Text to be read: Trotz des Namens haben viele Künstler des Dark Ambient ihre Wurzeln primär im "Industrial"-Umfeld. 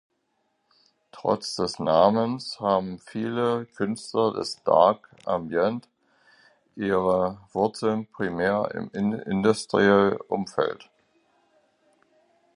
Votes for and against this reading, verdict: 0, 2, rejected